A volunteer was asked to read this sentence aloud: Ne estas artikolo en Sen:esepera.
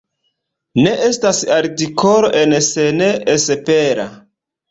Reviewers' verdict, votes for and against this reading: accepted, 2, 1